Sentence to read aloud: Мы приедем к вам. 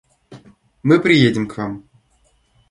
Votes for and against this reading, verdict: 2, 0, accepted